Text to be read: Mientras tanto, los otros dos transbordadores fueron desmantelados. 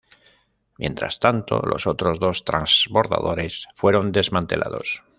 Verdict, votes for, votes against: accepted, 2, 1